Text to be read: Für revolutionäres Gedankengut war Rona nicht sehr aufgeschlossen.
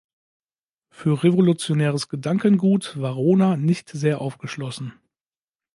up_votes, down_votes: 2, 0